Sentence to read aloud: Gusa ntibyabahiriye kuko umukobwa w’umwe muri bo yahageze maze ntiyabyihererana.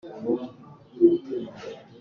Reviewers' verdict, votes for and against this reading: rejected, 0, 2